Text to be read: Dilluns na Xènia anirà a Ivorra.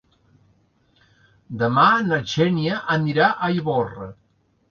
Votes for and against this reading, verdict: 1, 2, rejected